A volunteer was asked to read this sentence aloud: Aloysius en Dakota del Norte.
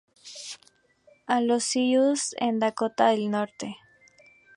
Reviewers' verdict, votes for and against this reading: rejected, 0, 2